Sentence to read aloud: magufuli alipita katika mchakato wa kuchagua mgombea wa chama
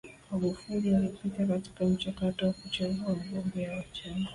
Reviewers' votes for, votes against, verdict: 1, 2, rejected